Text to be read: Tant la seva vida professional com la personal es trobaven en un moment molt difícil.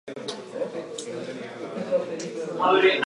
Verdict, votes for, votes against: rejected, 0, 2